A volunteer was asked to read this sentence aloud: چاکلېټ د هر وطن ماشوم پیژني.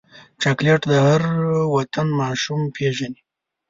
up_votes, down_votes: 3, 0